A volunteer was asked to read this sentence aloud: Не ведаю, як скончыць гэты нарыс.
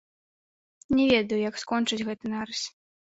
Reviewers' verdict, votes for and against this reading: rejected, 1, 2